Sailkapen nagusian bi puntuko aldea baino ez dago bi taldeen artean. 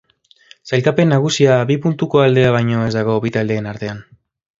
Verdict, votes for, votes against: rejected, 0, 2